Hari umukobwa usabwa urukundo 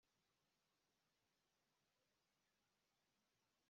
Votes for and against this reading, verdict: 0, 3, rejected